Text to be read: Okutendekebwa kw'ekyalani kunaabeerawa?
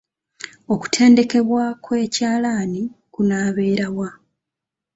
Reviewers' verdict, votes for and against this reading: rejected, 0, 2